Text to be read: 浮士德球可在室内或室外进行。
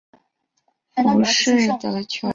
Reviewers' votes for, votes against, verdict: 0, 4, rejected